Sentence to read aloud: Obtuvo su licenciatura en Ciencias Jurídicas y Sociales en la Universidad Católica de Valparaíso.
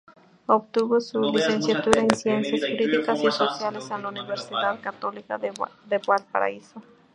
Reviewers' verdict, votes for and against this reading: rejected, 0, 2